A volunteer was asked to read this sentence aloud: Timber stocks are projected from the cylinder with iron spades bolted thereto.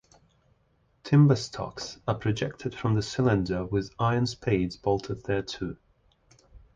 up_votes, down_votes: 2, 0